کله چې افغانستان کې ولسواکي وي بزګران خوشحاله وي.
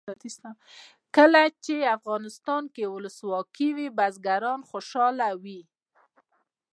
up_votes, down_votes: 1, 2